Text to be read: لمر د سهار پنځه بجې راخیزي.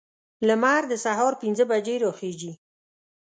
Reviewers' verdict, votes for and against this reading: accepted, 2, 0